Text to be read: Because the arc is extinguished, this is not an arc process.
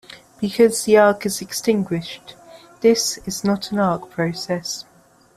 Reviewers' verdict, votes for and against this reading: accepted, 2, 0